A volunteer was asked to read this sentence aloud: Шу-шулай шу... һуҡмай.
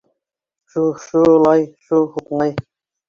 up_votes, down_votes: 2, 3